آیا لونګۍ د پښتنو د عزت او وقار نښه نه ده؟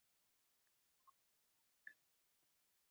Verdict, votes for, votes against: rejected, 2, 4